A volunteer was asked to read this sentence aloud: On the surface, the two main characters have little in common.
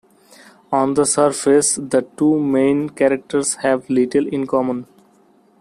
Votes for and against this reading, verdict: 2, 0, accepted